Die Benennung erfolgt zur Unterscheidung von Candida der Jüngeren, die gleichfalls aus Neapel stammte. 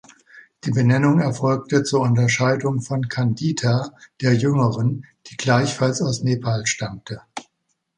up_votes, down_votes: 0, 2